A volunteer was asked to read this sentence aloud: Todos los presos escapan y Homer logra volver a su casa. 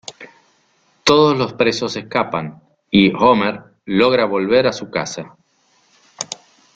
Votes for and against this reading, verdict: 2, 0, accepted